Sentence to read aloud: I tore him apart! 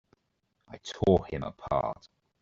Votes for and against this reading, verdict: 2, 1, accepted